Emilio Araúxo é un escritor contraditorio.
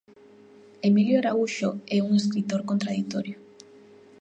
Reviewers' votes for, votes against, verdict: 2, 0, accepted